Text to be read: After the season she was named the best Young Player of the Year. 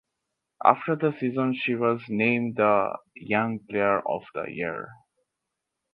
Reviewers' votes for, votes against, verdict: 0, 2, rejected